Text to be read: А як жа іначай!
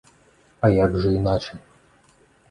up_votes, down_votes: 2, 0